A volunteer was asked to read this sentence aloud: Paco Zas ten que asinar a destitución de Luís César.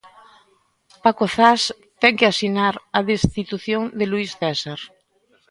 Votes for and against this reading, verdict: 2, 0, accepted